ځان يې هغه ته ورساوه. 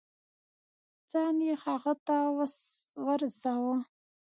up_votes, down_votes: 2, 0